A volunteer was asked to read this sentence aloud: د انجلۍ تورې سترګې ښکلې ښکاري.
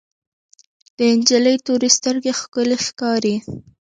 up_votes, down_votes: 2, 0